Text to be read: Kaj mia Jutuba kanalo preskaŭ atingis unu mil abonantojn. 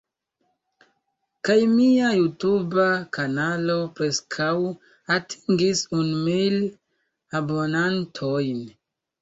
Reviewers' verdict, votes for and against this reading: accepted, 2, 1